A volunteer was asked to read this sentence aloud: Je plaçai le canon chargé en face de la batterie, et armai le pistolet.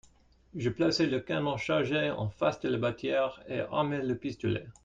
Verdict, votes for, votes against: rejected, 0, 2